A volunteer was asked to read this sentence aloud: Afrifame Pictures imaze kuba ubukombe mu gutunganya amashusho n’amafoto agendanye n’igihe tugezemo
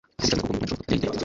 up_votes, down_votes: 1, 2